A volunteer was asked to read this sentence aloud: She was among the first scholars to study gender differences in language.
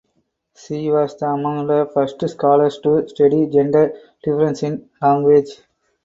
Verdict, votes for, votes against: rejected, 2, 4